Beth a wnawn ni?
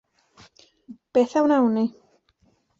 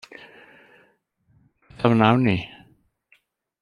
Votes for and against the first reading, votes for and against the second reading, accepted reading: 2, 0, 0, 2, first